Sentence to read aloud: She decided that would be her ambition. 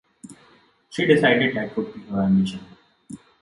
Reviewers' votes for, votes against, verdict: 2, 0, accepted